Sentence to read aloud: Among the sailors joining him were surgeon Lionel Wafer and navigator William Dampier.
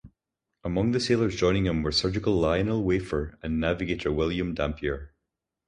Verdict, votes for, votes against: rejected, 0, 2